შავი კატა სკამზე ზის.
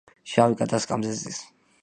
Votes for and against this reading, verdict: 2, 0, accepted